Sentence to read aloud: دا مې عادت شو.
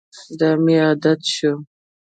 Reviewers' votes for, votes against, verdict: 2, 0, accepted